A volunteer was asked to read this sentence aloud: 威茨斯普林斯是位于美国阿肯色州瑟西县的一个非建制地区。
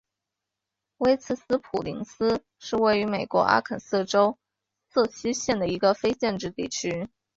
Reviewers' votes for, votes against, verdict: 2, 0, accepted